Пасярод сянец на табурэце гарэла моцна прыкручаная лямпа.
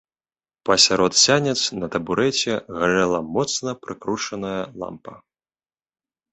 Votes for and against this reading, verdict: 0, 2, rejected